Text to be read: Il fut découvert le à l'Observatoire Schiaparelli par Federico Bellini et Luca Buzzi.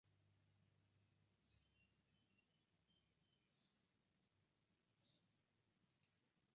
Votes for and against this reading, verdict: 0, 2, rejected